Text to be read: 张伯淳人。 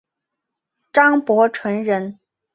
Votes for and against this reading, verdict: 2, 0, accepted